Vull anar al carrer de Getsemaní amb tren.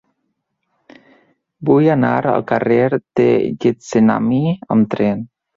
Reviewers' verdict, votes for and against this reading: rejected, 0, 3